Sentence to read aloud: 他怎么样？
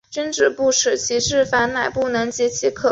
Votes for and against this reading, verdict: 0, 2, rejected